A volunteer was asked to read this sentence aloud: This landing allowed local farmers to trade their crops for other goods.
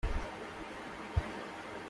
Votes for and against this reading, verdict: 0, 2, rejected